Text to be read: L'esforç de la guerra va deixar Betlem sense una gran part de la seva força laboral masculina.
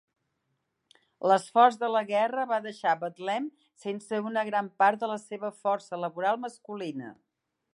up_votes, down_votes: 3, 1